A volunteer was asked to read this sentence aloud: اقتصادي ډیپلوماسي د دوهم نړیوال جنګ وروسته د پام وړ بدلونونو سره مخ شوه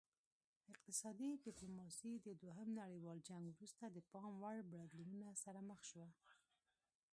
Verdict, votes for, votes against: rejected, 0, 2